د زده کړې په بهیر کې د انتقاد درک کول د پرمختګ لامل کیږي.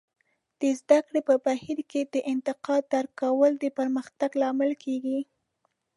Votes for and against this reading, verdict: 3, 0, accepted